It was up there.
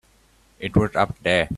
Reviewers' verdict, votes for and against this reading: rejected, 1, 2